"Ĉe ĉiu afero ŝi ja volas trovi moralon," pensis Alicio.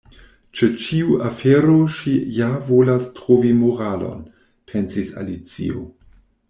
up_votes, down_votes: 2, 0